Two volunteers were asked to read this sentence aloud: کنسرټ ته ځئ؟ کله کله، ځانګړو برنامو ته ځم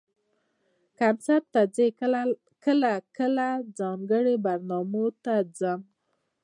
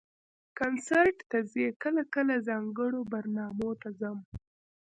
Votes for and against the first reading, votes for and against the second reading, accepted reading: 2, 0, 1, 2, first